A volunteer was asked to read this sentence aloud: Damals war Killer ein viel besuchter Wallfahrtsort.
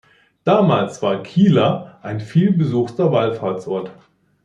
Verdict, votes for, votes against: rejected, 0, 2